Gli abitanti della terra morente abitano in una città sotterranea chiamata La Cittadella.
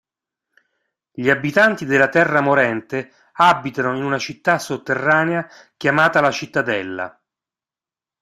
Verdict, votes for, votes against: accepted, 2, 0